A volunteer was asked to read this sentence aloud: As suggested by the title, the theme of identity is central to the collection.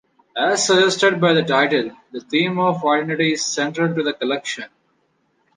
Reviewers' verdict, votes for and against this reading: accepted, 3, 0